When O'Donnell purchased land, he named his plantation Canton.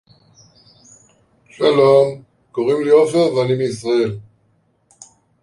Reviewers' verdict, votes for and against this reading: rejected, 0, 2